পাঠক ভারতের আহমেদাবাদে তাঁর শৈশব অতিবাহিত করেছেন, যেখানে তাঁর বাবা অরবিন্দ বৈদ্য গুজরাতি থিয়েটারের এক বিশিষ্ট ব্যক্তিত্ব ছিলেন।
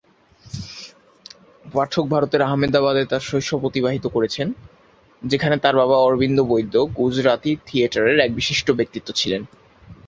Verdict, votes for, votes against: accepted, 4, 0